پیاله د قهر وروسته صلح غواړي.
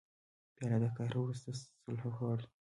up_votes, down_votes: 2, 0